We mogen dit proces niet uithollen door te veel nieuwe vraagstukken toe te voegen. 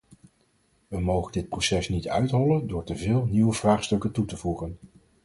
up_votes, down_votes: 4, 0